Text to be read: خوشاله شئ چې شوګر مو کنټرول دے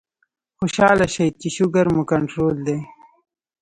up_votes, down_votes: 2, 0